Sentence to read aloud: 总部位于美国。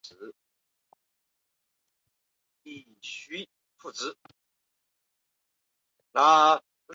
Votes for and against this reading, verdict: 0, 2, rejected